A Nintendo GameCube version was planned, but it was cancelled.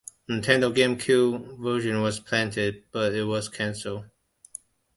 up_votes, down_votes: 1, 2